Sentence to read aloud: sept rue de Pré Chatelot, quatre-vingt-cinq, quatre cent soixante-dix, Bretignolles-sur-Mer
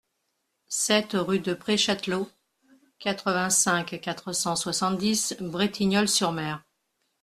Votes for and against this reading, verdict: 2, 0, accepted